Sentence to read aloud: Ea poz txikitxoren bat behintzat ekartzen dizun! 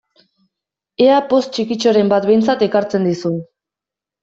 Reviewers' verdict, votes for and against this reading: accepted, 2, 0